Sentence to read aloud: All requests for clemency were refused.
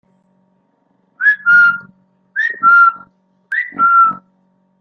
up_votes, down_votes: 0, 2